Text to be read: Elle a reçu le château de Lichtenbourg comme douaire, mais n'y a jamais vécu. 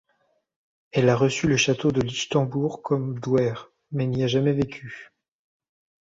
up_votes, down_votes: 2, 0